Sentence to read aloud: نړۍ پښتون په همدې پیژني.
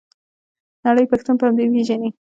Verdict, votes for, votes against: rejected, 1, 2